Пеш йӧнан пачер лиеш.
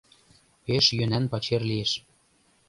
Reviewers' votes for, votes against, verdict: 4, 0, accepted